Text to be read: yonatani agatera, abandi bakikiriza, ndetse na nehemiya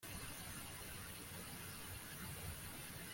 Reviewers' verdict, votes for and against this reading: rejected, 1, 2